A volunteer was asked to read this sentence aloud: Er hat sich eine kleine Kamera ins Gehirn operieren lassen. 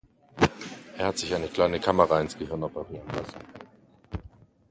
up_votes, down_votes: 2, 0